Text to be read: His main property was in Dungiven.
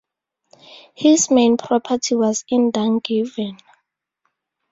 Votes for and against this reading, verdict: 2, 0, accepted